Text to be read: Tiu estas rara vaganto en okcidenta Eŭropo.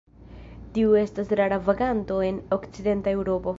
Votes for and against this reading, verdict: 3, 4, rejected